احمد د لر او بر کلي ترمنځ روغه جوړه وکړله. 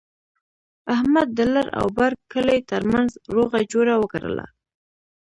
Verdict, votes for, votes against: accepted, 2, 0